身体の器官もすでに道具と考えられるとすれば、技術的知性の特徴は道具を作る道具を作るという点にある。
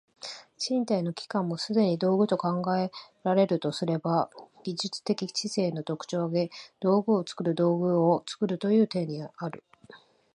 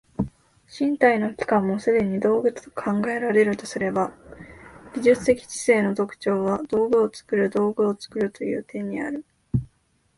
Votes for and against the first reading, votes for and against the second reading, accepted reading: 1, 2, 2, 0, second